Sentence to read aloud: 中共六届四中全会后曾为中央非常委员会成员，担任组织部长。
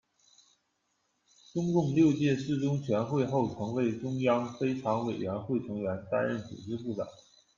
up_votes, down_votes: 2, 0